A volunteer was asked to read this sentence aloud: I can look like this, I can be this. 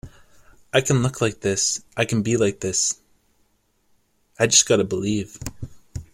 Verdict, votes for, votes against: rejected, 0, 2